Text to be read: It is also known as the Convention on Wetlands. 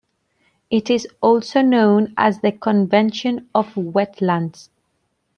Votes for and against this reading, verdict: 2, 1, accepted